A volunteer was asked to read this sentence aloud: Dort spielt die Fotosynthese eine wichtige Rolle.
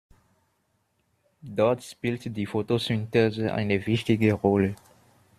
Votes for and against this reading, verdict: 1, 2, rejected